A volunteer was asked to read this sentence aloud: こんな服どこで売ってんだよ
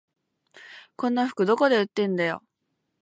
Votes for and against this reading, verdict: 2, 0, accepted